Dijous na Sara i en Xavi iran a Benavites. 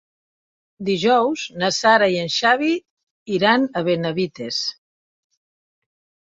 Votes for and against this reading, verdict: 2, 0, accepted